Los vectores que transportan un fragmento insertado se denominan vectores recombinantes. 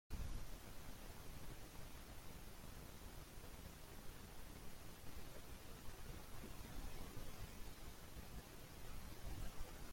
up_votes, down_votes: 0, 2